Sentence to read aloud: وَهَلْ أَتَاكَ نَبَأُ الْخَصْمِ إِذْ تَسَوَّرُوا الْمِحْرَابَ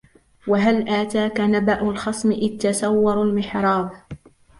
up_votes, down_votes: 0, 2